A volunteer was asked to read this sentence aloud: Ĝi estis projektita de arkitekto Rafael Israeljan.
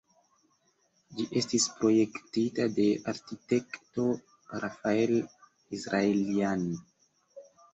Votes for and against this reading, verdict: 1, 2, rejected